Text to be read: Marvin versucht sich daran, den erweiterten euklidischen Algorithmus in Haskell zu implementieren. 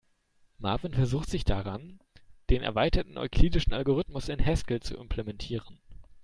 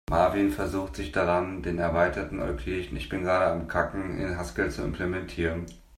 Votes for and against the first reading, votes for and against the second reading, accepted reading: 2, 0, 0, 2, first